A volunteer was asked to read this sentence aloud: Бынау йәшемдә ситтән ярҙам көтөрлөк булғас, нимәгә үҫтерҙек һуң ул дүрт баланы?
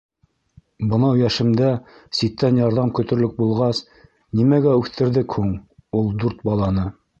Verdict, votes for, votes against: rejected, 0, 2